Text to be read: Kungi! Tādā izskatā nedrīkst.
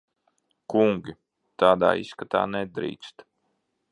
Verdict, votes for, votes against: accepted, 2, 0